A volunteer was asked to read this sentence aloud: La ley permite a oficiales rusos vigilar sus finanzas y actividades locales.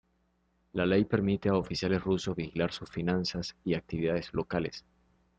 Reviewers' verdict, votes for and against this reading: accepted, 2, 0